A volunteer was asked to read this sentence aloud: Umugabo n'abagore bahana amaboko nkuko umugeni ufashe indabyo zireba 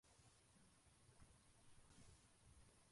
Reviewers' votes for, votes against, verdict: 0, 2, rejected